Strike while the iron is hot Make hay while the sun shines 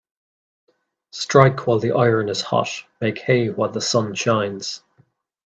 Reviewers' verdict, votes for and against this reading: accepted, 2, 0